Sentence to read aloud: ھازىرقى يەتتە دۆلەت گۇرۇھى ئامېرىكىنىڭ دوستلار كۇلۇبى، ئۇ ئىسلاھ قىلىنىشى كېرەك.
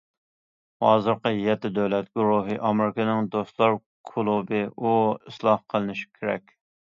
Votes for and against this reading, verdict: 2, 0, accepted